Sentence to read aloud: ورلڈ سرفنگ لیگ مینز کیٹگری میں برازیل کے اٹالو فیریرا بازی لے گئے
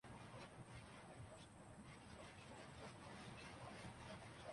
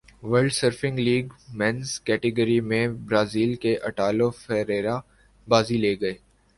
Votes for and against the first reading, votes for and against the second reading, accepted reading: 0, 2, 2, 1, second